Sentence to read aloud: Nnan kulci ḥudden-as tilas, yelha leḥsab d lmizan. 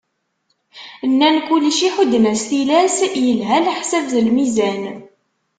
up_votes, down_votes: 2, 0